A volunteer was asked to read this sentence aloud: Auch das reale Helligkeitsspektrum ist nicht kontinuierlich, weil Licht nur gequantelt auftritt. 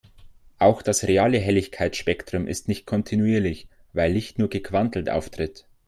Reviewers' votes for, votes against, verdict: 2, 0, accepted